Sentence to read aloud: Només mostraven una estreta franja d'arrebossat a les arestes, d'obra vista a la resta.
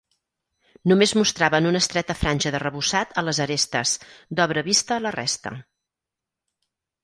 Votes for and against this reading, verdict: 6, 0, accepted